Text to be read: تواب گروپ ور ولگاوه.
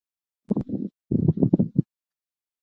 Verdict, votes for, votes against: rejected, 1, 2